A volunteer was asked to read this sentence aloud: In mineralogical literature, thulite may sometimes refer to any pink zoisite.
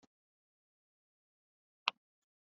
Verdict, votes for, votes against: rejected, 0, 2